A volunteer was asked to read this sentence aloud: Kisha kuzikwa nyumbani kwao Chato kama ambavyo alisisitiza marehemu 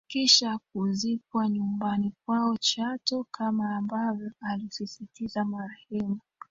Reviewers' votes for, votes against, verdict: 2, 1, accepted